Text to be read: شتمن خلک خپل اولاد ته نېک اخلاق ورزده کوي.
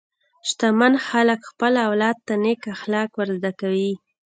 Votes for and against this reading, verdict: 2, 0, accepted